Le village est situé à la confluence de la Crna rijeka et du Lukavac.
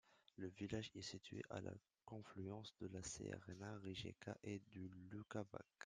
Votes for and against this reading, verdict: 0, 2, rejected